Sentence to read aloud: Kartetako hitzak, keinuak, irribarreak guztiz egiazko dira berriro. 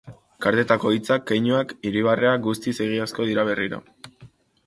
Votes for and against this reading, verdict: 2, 0, accepted